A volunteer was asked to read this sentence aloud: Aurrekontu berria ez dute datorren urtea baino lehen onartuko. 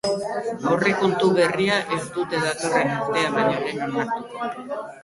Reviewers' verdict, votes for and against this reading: rejected, 0, 2